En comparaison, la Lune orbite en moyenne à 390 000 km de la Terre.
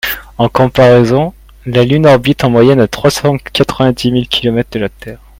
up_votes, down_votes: 0, 2